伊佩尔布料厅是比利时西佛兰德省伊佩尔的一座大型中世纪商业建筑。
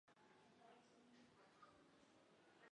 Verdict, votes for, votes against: rejected, 0, 3